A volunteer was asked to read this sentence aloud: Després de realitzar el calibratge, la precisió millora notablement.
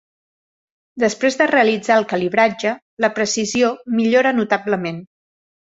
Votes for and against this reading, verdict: 2, 0, accepted